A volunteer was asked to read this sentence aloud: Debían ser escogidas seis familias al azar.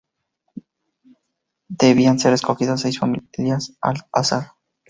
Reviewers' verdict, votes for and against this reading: rejected, 0, 2